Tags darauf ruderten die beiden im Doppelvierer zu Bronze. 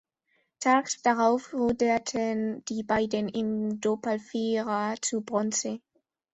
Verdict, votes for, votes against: accepted, 2, 1